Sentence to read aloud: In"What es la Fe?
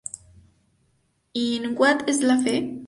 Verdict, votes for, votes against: rejected, 0, 4